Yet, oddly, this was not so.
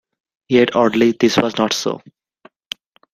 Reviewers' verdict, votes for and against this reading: accepted, 2, 0